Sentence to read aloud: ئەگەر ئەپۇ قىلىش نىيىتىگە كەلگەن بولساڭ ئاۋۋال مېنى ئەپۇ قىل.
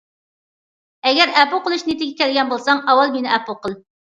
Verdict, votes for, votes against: accepted, 2, 0